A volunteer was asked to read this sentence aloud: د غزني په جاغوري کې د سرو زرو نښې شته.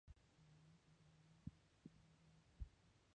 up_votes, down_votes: 1, 2